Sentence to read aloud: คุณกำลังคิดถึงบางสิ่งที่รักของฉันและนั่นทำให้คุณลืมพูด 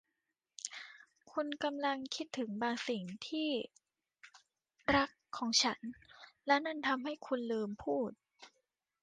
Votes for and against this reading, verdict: 2, 0, accepted